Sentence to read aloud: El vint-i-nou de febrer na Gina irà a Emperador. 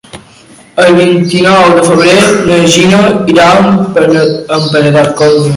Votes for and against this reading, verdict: 0, 2, rejected